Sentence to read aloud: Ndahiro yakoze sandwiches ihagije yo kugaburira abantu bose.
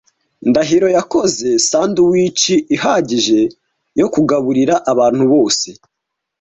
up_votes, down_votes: 2, 0